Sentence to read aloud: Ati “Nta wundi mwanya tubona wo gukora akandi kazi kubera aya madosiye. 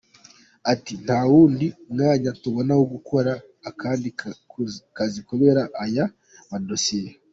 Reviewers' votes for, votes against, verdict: 1, 2, rejected